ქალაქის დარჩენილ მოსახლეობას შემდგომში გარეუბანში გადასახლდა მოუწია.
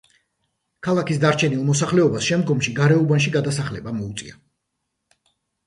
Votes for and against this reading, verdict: 0, 2, rejected